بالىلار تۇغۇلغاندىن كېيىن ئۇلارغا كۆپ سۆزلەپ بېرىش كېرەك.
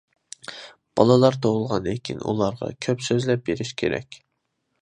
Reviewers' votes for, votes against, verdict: 2, 0, accepted